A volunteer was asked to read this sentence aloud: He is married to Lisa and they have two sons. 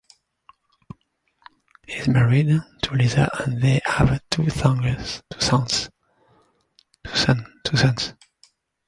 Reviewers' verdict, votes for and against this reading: rejected, 0, 2